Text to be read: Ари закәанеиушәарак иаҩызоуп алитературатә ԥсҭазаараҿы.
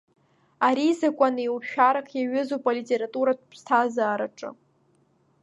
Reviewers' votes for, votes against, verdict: 2, 0, accepted